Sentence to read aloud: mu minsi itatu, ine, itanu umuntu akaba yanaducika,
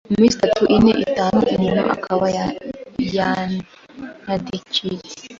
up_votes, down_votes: 1, 2